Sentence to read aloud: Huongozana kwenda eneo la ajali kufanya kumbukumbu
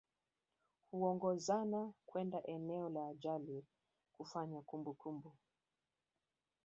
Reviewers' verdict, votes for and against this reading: accepted, 2, 0